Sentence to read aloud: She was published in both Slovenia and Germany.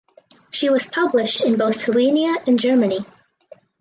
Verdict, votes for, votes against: accepted, 2, 0